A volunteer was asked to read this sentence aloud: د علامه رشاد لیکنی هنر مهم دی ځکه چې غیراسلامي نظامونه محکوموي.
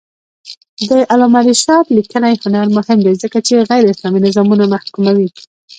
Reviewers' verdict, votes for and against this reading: rejected, 1, 2